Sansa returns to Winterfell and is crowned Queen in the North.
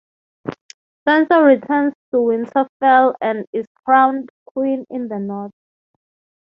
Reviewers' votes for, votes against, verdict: 0, 3, rejected